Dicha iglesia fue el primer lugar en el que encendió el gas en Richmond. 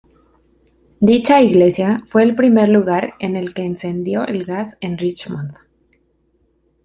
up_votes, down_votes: 2, 0